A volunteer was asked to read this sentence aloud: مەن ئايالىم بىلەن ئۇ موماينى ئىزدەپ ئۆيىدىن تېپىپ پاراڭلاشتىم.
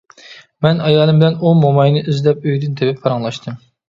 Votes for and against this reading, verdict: 2, 0, accepted